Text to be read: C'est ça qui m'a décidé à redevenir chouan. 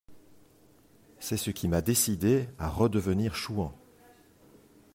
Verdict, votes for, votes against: rejected, 0, 2